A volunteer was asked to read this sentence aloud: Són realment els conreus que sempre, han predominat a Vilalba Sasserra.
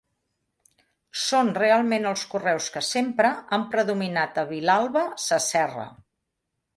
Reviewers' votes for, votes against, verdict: 1, 2, rejected